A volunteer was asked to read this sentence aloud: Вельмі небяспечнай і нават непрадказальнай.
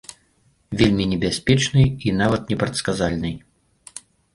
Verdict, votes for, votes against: rejected, 0, 2